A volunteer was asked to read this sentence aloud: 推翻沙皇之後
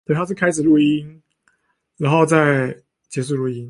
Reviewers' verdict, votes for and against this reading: rejected, 0, 2